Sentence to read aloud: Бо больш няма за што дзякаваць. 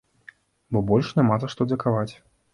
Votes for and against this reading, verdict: 1, 3, rejected